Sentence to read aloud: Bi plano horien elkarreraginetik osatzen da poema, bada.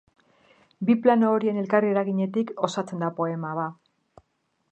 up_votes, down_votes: 0, 2